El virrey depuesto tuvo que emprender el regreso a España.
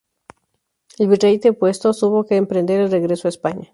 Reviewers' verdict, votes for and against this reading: rejected, 0, 2